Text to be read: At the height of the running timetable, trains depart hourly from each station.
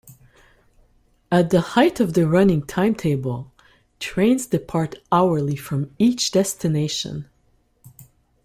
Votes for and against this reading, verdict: 0, 2, rejected